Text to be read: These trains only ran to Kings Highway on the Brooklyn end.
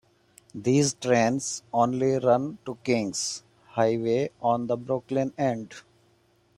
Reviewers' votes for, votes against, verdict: 1, 2, rejected